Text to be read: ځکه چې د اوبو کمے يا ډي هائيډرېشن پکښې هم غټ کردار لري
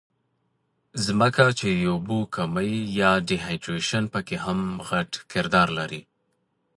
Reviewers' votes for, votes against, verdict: 2, 1, accepted